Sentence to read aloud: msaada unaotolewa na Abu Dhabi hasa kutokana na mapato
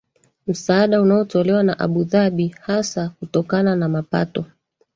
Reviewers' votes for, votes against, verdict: 2, 3, rejected